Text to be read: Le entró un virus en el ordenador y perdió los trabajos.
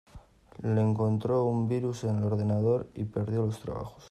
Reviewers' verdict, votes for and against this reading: rejected, 0, 2